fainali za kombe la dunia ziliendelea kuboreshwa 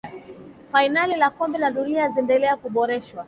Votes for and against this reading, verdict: 2, 0, accepted